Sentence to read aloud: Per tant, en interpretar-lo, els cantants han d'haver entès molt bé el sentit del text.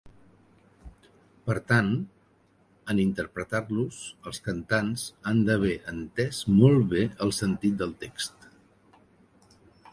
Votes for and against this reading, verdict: 2, 3, rejected